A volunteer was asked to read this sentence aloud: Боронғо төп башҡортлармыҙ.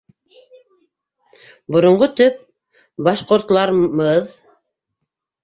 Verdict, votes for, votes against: rejected, 0, 2